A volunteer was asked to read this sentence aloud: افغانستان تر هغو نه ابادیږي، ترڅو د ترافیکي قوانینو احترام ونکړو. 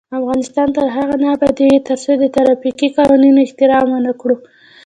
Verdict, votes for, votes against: rejected, 0, 2